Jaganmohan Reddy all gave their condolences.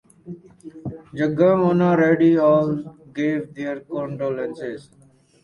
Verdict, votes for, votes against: accepted, 4, 0